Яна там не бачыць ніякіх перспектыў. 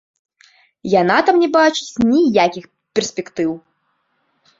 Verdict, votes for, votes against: rejected, 0, 2